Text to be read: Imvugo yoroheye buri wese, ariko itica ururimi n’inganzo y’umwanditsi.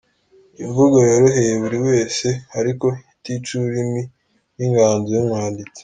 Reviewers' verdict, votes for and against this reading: accepted, 2, 0